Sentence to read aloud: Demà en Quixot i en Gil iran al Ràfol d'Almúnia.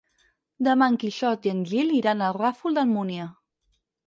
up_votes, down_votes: 4, 0